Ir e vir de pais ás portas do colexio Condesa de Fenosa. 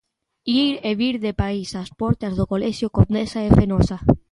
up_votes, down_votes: 1, 2